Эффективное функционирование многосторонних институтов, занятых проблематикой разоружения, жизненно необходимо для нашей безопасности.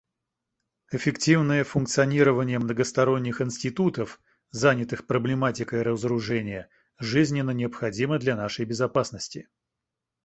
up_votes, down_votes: 3, 0